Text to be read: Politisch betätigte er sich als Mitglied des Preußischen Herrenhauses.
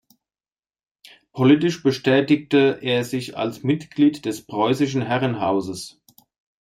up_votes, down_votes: 0, 2